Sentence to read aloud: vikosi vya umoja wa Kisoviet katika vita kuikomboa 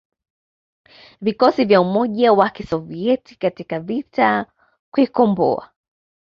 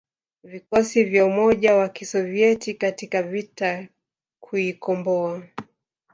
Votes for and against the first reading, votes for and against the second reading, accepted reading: 2, 0, 0, 2, first